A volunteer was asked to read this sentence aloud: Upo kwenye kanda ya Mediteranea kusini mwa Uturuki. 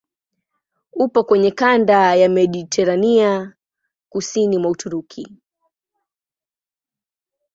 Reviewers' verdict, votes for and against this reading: rejected, 0, 2